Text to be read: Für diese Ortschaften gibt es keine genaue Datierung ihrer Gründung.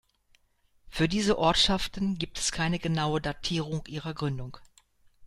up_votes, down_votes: 2, 0